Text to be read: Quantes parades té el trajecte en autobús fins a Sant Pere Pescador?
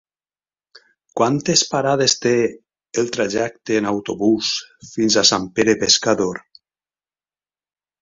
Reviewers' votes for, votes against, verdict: 2, 0, accepted